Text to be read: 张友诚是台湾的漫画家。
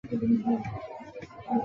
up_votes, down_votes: 2, 5